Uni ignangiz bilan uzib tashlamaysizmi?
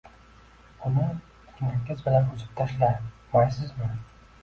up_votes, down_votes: 0, 2